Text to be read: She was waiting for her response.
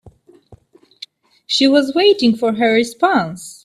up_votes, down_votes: 2, 0